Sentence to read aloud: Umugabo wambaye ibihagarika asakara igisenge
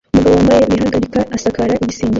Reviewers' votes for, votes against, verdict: 1, 2, rejected